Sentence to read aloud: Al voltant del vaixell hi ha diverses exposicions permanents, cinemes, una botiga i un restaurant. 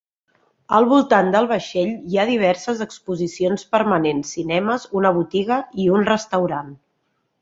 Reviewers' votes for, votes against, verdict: 3, 0, accepted